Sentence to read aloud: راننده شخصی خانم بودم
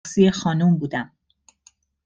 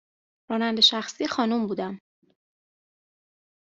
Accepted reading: second